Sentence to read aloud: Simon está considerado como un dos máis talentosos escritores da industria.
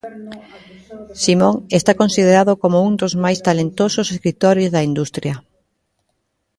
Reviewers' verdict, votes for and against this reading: rejected, 1, 2